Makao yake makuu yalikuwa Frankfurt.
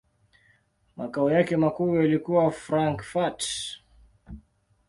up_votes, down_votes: 0, 2